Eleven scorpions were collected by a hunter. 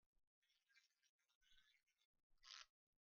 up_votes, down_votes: 0, 2